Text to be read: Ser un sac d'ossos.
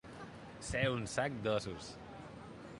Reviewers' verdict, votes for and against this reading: accepted, 2, 0